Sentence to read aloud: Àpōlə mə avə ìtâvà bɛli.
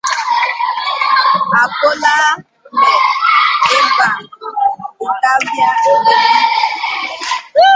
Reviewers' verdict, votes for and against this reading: rejected, 1, 2